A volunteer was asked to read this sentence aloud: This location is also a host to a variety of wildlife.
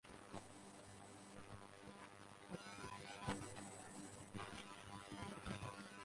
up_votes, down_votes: 0, 6